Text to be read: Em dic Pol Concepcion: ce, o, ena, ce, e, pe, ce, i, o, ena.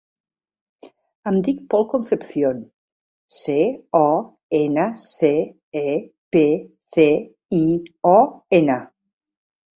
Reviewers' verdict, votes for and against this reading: rejected, 1, 4